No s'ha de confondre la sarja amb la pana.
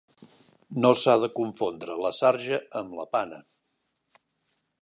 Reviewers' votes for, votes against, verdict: 4, 0, accepted